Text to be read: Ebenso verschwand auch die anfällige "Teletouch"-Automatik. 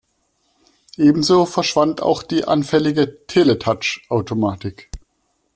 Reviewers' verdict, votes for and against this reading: accepted, 2, 0